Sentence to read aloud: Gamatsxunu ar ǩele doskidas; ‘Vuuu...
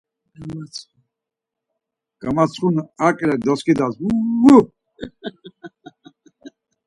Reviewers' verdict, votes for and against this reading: accepted, 4, 0